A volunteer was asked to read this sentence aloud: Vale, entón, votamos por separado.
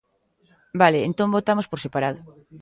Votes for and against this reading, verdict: 1, 2, rejected